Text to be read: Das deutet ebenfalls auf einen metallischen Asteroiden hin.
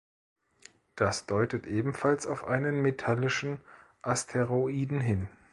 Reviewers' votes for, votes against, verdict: 2, 0, accepted